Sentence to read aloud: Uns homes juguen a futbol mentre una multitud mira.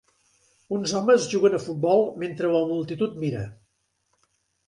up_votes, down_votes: 0, 2